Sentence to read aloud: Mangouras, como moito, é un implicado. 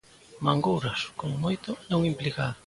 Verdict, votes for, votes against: accepted, 2, 0